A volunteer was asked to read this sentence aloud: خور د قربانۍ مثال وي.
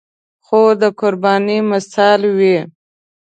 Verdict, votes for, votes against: accepted, 2, 0